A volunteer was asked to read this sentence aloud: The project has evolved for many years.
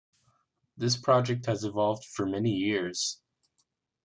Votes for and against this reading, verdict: 0, 2, rejected